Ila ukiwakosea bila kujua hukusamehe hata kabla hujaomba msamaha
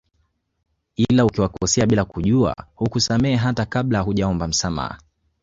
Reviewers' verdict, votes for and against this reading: rejected, 1, 2